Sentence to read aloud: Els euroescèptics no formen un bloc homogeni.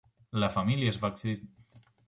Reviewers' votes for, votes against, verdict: 0, 2, rejected